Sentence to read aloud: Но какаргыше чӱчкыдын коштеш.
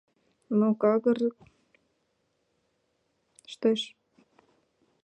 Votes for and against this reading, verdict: 0, 2, rejected